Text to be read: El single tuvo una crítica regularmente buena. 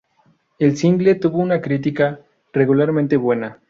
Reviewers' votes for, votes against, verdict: 2, 0, accepted